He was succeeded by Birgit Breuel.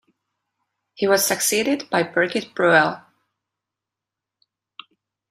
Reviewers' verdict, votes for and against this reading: accepted, 2, 0